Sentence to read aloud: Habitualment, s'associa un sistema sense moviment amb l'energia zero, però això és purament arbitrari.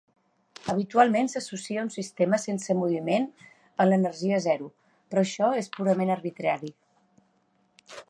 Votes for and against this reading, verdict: 2, 0, accepted